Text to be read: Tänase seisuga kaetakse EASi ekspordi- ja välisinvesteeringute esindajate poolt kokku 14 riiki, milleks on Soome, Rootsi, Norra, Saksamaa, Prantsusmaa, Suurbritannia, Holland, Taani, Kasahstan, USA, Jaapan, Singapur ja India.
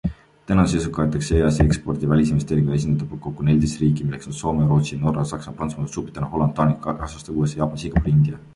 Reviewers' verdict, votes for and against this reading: rejected, 0, 2